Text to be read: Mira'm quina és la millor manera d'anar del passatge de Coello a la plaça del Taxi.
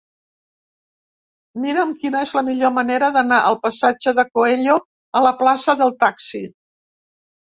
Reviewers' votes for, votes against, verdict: 0, 2, rejected